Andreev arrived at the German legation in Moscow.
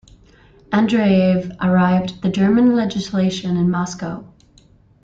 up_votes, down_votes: 1, 2